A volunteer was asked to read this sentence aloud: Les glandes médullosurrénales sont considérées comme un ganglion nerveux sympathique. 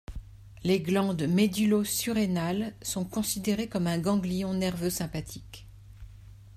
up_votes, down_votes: 2, 0